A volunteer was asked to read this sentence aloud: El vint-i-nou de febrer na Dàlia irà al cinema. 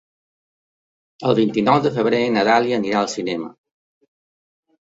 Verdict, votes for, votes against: rejected, 1, 2